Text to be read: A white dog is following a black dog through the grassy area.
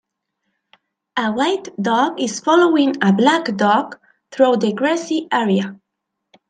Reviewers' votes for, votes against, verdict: 2, 0, accepted